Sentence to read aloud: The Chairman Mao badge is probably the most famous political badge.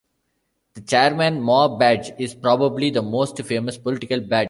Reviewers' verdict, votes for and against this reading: rejected, 1, 2